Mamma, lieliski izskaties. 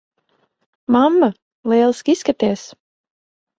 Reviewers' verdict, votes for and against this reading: accepted, 4, 0